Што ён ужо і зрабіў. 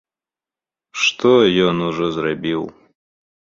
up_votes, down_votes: 0, 2